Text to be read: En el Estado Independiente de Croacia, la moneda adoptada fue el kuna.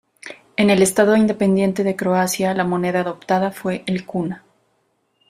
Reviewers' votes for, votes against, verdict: 2, 0, accepted